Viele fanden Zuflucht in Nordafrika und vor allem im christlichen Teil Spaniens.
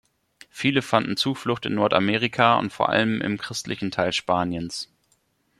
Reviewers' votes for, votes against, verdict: 0, 2, rejected